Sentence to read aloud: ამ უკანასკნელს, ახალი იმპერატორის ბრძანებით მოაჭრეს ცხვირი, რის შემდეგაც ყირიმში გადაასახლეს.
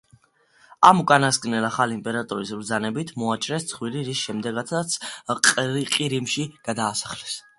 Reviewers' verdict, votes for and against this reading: accepted, 2, 1